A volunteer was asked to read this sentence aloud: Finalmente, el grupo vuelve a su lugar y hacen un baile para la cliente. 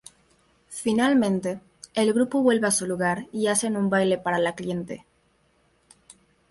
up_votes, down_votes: 2, 0